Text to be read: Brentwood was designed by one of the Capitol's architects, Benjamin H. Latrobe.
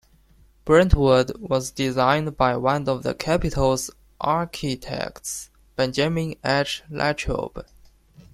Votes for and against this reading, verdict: 2, 0, accepted